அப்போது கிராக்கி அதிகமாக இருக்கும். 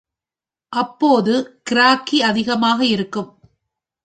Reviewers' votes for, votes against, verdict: 2, 0, accepted